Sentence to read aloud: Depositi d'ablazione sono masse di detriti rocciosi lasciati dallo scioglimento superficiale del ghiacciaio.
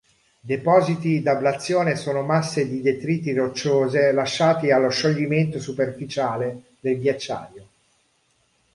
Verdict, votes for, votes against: rejected, 0, 2